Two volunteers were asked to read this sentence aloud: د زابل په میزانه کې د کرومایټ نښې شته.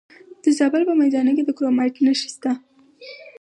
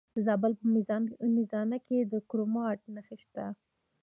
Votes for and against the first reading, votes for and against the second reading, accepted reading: 4, 2, 0, 2, first